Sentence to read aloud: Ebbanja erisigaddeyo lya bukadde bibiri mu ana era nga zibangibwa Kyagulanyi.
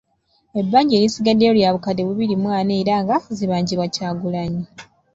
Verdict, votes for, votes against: rejected, 0, 2